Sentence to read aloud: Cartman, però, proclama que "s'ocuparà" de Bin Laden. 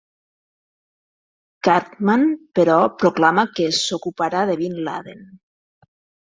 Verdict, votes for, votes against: accepted, 3, 0